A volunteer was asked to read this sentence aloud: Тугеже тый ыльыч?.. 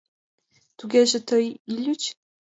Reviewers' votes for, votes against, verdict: 1, 2, rejected